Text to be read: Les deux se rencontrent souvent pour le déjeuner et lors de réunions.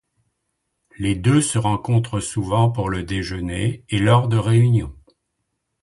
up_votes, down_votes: 2, 0